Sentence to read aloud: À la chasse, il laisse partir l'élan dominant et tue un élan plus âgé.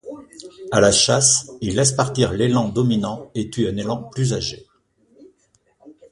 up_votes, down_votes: 2, 0